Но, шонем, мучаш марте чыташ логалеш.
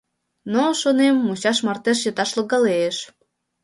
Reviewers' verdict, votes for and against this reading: accepted, 2, 0